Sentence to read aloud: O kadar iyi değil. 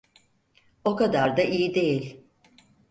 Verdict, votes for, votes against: accepted, 4, 0